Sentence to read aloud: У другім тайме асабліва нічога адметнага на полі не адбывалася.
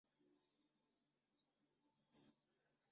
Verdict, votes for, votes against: rejected, 0, 2